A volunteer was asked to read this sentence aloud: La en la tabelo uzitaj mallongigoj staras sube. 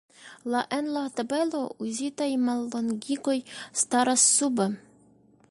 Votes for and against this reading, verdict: 2, 1, accepted